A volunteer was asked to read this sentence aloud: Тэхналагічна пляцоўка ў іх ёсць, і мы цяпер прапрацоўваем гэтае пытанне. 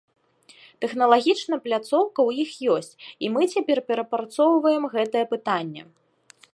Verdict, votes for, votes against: rejected, 0, 2